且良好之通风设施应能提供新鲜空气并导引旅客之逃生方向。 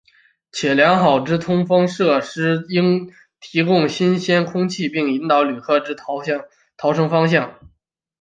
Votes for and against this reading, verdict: 3, 4, rejected